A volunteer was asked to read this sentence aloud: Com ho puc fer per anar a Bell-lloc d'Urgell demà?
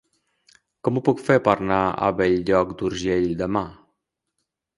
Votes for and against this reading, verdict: 0, 2, rejected